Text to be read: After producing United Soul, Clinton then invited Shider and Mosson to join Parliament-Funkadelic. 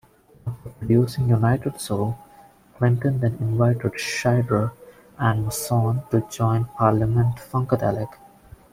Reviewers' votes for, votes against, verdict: 1, 2, rejected